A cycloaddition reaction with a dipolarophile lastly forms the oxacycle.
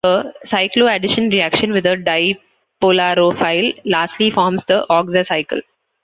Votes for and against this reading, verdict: 1, 2, rejected